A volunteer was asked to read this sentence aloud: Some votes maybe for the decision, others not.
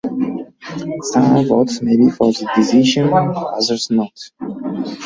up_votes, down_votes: 1, 2